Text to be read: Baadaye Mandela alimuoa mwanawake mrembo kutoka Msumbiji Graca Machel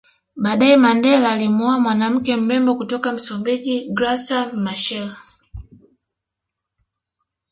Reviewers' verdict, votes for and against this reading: accepted, 2, 0